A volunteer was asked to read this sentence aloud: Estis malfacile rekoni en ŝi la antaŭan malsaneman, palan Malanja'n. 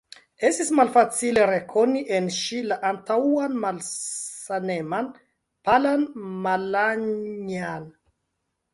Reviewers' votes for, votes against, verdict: 3, 1, accepted